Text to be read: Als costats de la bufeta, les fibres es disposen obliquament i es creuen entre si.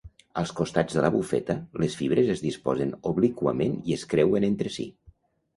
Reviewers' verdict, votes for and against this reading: accepted, 2, 0